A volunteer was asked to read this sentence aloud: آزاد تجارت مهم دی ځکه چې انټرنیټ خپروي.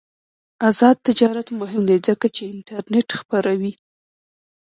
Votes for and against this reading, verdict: 2, 0, accepted